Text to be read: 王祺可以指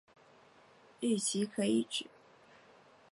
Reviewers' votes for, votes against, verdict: 0, 3, rejected